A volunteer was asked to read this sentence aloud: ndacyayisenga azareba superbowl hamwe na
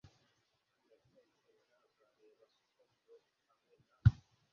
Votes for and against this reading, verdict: 1, 2, rejected